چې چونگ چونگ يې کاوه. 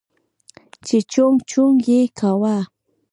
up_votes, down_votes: 2, 0